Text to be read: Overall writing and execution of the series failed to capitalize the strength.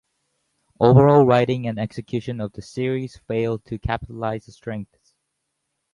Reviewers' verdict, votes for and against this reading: accepted, 4, 0